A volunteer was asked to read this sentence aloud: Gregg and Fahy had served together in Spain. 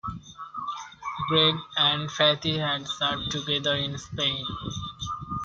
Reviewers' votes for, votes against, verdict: 0, 2, rejected